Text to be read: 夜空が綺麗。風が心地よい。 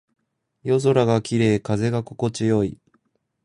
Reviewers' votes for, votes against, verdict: 2, 0, accepted